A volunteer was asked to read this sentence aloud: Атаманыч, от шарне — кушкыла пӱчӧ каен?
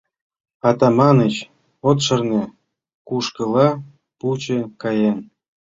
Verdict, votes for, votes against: rejected, 2, 3